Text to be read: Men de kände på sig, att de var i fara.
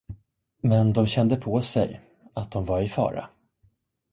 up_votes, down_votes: 1, 2